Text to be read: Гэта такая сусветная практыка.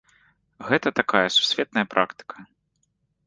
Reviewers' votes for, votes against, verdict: 2, 0, accepted